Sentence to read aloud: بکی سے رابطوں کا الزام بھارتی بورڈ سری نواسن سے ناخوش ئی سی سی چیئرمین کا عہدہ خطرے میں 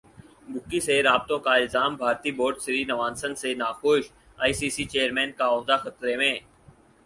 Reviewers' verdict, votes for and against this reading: accepted, 6, 0